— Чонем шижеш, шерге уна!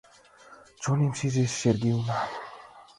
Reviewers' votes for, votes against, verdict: 2, 0, accepted